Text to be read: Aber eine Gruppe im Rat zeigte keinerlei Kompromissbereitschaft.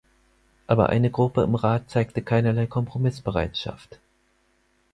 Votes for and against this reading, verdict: 4, 0, accepted